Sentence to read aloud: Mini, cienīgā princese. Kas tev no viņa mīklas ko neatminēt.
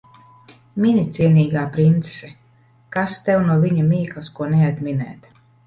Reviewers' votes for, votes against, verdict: 2, 0, accepted